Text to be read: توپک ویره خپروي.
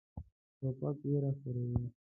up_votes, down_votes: 0, 2